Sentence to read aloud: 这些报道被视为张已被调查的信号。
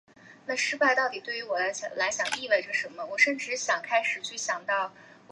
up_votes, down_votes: 0, 4